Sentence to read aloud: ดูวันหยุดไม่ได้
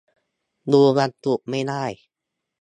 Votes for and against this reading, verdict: 0, 2, rejected